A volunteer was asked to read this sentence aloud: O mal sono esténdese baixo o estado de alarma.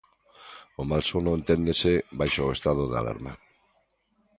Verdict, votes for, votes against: rejected, 0, 2